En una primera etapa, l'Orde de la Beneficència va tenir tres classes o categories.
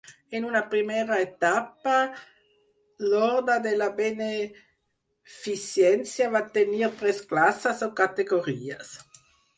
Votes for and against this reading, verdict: 4, 0, accepted